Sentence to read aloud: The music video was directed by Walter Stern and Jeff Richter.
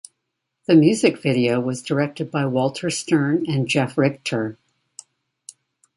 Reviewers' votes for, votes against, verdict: 2, 0, accepted